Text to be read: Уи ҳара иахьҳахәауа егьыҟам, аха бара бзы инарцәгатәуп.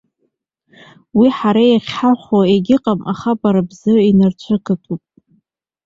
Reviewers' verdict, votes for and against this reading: accepted, 2, 1